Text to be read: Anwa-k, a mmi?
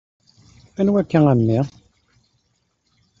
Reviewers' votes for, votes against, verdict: 1, 2, rejected